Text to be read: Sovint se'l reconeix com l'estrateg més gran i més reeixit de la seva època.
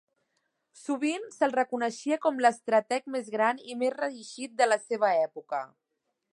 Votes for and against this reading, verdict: 1, 2, rejected